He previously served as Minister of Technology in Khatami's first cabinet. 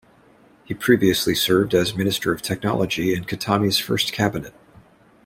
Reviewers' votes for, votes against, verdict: 2, 0, accepted